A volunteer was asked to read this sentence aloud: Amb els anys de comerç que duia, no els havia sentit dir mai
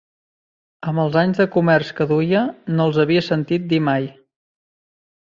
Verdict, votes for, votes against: accepted, 6, 0